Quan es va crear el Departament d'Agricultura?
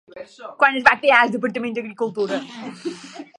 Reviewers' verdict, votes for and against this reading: rejected, 0, 2